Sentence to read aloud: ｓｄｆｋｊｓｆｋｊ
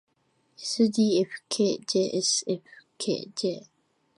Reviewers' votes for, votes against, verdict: 2, 0, accepted